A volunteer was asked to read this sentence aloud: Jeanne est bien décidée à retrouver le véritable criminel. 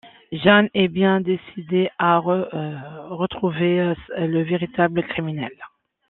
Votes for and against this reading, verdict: 0, 2, rejected